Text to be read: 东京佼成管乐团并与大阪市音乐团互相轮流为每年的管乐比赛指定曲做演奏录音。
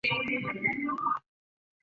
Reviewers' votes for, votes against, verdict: 0, 2, rejected